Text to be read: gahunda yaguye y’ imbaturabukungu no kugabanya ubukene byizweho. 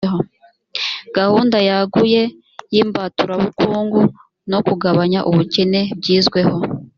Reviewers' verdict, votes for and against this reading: accepted, 4, 0